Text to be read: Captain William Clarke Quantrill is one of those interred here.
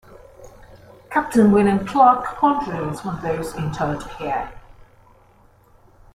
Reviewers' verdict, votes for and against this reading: accepted, 2, 1